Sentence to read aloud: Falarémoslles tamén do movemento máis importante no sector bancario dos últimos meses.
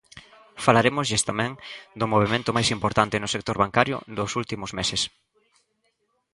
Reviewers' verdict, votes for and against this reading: accepted, 2, 0